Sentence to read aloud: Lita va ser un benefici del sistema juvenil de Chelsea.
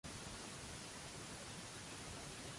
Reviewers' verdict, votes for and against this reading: rejected, 0, 2